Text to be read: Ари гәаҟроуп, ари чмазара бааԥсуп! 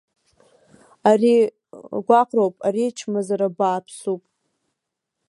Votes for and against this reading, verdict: 1, 2, rejected